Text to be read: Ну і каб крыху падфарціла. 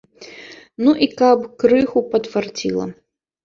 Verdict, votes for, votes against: accepted, 2, 1